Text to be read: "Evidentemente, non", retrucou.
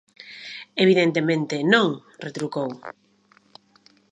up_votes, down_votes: 2, 0